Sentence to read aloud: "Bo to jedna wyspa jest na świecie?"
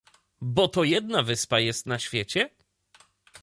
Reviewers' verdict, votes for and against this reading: accepted, 2, 0